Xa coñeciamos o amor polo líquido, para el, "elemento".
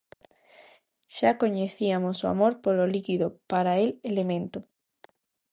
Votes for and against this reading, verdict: 1, 2, rejected